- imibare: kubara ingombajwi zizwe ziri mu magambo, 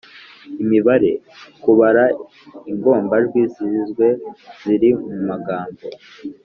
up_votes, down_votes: 2, 0